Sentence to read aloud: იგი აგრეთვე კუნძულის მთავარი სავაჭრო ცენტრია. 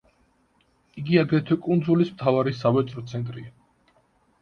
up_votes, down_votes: 2, 0